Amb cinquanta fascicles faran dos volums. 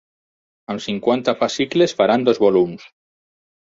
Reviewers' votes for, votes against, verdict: 6, 0, accepted